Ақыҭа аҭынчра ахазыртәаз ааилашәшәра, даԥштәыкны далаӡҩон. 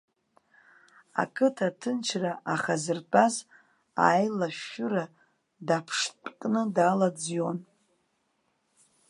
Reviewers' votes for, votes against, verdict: 0, 2, rejected